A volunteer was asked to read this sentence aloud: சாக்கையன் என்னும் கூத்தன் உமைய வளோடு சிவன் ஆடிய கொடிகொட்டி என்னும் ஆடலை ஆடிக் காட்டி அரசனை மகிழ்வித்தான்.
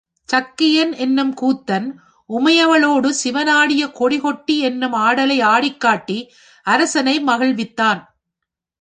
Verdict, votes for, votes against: rejected, 1, 2